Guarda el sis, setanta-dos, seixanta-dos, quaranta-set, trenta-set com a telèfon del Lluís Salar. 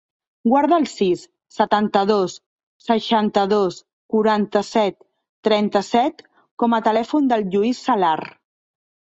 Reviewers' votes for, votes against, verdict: 3, 0, accepted